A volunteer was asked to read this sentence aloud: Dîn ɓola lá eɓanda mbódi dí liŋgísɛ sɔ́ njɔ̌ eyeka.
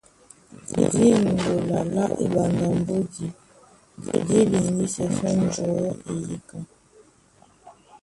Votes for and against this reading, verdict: 0, 2, rejected